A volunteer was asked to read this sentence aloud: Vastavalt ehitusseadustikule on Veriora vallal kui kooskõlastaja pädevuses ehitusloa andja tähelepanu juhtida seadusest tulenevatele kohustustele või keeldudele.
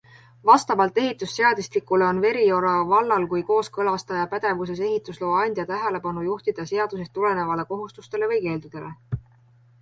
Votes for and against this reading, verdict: 2, 0, accepted